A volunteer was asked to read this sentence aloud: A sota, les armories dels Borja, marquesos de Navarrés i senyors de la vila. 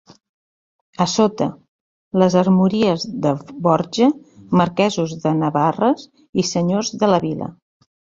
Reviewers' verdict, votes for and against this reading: rejected, 0, 2